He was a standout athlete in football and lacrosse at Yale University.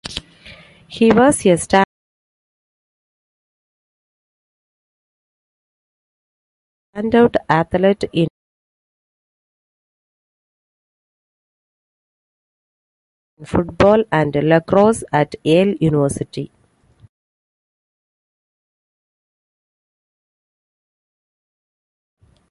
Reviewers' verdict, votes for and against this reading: rejected, 1, 2